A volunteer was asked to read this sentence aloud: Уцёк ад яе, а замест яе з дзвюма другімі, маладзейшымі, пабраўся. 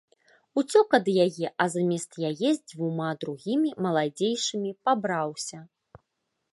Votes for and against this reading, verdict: 3, 0, accepted